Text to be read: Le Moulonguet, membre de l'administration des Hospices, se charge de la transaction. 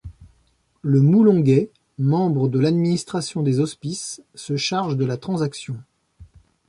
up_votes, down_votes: 2, 0